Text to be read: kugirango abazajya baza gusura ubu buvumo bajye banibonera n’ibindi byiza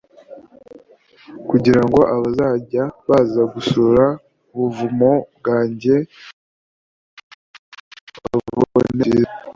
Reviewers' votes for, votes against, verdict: 1, 2, rejected